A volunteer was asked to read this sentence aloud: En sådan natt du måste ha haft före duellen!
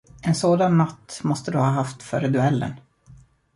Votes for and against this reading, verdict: 0, 2, rejected